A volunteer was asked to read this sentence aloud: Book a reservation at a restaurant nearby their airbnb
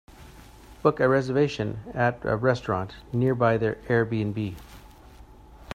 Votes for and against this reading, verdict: 2, 0, accepted